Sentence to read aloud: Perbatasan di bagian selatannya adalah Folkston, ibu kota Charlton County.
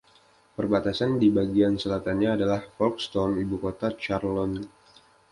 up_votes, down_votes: 0, 2